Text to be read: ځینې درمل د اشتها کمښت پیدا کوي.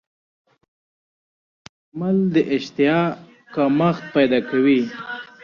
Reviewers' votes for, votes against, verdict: 1, 2, rejected